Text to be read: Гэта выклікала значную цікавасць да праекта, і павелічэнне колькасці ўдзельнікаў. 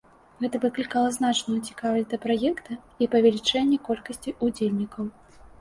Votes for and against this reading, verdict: 1, 2, rejected